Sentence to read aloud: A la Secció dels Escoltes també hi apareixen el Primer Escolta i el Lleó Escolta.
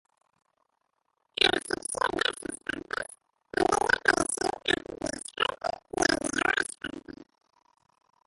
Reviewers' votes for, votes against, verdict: 1, 2, rejected